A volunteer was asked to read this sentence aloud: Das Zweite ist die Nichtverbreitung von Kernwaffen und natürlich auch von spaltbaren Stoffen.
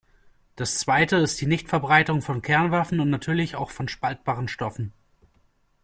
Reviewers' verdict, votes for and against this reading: accepted, 2, 0